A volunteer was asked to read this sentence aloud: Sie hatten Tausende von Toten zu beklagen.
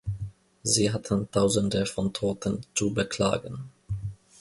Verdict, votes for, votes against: accepted, 2, 0